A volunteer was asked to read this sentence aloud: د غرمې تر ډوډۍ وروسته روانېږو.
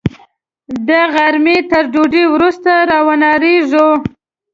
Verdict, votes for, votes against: rejected, 0, 2